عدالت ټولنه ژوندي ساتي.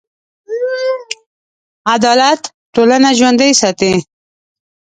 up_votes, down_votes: 0, 4